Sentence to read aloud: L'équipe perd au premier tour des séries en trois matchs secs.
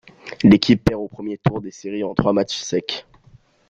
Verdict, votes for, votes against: rejected, 1, 2